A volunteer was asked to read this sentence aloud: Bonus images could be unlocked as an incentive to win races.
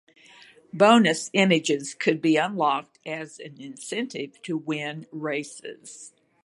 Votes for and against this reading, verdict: 2, 0, accepted